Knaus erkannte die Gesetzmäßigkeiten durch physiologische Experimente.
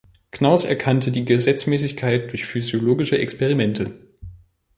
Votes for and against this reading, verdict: 0, 2, rejected